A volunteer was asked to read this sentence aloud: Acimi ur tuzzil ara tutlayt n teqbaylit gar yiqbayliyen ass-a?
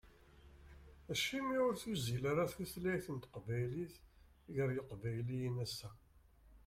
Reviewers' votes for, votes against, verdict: 2, 0, accepted